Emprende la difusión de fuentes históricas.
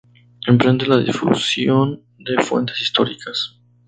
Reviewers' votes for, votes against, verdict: 2, 0, accepted